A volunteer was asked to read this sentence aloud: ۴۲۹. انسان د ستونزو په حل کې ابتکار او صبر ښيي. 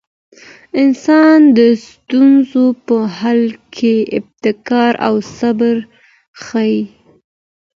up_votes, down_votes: 0, 2